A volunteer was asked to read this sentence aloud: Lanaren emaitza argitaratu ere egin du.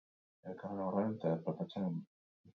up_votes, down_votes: 0, 4